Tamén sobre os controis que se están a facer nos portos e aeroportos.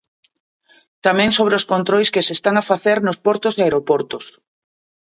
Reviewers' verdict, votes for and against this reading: accepted, 2, 0